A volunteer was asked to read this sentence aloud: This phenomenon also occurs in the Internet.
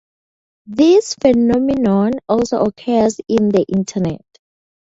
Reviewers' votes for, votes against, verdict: 2, 0, accepted